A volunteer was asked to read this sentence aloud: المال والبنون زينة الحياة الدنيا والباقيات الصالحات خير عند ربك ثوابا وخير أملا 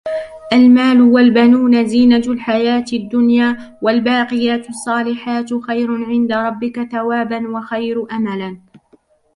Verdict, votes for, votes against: rejected, 0, 2